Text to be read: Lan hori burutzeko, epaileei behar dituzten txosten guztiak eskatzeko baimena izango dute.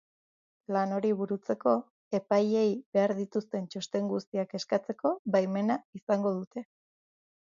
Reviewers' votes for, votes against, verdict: 2, 0, accepted